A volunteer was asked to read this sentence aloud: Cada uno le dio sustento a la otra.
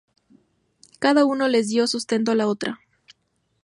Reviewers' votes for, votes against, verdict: 4, 0, accepted